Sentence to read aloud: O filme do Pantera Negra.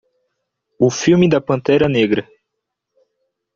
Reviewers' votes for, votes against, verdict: 1, 2, rejected